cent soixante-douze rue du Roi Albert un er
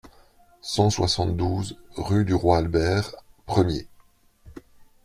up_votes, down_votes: 1, 2